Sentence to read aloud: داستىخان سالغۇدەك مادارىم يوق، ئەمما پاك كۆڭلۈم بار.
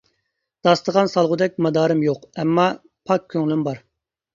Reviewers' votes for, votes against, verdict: 2, 0, accepted